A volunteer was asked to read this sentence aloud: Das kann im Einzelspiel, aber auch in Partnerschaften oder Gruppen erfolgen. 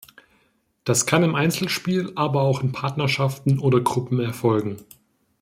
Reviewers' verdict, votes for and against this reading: accepted, 2, 0